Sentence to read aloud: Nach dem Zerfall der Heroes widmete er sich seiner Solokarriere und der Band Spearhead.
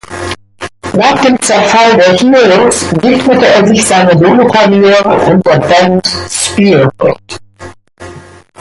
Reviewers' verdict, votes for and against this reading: rejected, 1, 2